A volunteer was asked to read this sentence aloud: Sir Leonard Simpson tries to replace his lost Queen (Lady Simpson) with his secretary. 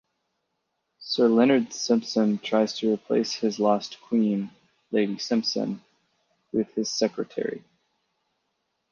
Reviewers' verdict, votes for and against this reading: accepted, 4, 0